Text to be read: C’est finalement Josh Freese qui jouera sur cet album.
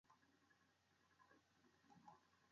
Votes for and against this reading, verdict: 1, 2, rejected